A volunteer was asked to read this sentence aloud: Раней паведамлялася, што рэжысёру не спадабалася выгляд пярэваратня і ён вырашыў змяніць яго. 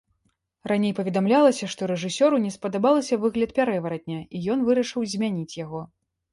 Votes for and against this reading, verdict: 2, 0, accepted